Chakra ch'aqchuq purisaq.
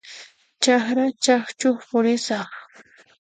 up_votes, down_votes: 0, 2